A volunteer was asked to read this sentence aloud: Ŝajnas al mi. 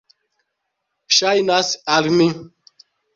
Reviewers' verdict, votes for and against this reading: accepted, 2, 0